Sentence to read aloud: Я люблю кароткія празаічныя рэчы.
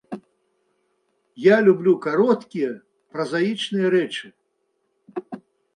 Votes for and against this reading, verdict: 2, 0, accepted